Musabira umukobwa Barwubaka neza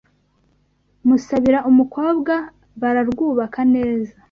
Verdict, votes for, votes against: rejected, 0, 2